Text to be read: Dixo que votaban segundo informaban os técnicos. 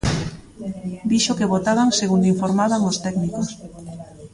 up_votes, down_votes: 0, 2